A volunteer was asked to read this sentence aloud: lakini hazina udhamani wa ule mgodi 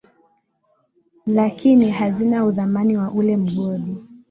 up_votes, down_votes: 3, 0